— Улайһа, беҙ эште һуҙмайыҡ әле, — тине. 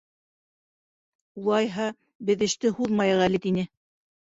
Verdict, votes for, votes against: rejected, 1, 2